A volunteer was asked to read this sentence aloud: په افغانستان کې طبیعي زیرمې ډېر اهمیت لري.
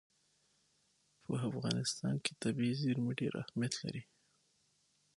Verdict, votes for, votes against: rejected, 3, 6